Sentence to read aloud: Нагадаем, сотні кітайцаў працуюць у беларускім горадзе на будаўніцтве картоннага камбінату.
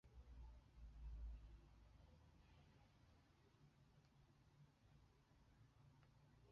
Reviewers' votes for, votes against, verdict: 0, 2, rejected